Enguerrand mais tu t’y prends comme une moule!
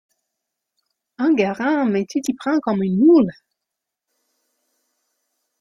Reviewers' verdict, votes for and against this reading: accepted, 2, 0